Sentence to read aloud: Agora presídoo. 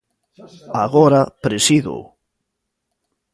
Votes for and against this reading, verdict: 2, 0, accepted